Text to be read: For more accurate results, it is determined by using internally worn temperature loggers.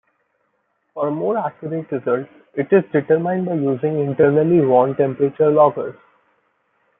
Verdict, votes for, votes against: accepted, 2, 1